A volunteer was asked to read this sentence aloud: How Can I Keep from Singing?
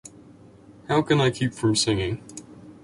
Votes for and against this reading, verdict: 2, 0, accepted